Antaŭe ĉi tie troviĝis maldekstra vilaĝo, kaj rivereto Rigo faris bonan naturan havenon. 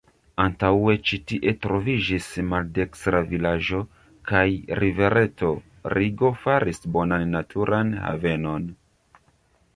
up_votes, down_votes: 1, 2